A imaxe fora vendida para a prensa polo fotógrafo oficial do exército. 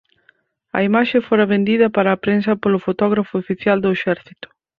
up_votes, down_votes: 2, 4